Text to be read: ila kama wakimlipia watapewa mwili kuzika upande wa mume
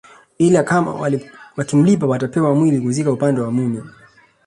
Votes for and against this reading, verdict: 2, 0, accepted